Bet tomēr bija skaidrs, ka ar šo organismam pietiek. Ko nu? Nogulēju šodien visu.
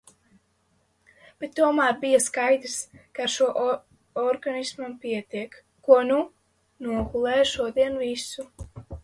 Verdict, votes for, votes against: rejected, 0, 2